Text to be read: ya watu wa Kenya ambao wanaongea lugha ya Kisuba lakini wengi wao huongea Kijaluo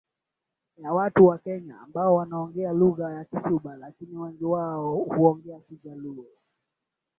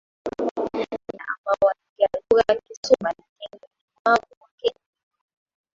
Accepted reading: first